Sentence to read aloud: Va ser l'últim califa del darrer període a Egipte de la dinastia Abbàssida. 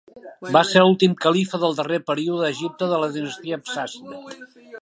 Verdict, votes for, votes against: rejected, 1, 2